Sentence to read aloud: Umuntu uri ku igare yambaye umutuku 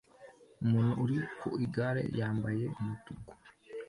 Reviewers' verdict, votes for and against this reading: accepted, 2, 0